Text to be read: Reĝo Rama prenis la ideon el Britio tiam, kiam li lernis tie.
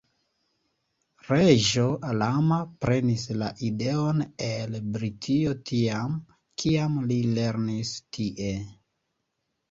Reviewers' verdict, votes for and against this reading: accepted, 2, 0